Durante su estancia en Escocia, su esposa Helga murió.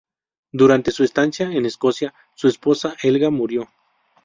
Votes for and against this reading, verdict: 0, 2, rejected